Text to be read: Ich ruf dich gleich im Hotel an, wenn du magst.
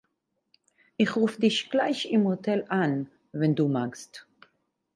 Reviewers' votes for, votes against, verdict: 4, 0, accepted